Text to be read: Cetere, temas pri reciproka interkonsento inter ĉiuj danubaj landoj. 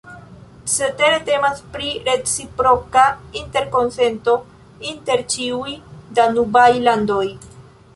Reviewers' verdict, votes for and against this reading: accepted, 5, 2